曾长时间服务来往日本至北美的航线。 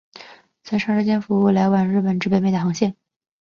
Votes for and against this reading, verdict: 2, 0, accepted